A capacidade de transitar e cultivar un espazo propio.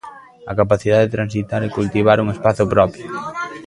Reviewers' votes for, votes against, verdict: 0, 2, rejected